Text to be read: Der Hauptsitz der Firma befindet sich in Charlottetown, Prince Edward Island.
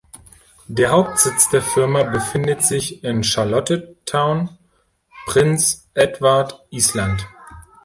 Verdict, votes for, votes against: rejected, 1, 2